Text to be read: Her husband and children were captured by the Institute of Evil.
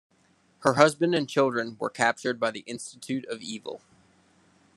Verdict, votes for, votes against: accepted, 2, 0